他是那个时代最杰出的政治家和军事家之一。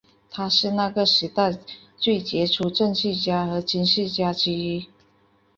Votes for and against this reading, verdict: 4, 1, accepted